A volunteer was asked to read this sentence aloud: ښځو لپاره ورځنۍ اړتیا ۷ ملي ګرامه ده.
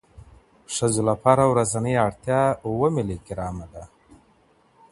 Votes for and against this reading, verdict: 0, 2, rejected